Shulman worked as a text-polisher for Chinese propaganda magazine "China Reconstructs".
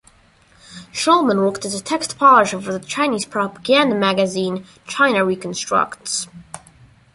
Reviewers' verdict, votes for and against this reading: accepted, 2, 0